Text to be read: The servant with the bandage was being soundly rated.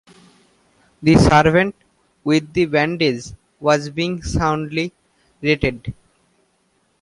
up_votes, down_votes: 2, 0